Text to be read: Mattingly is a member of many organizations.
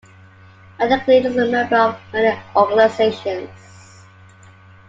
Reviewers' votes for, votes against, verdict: 0, 2, rejected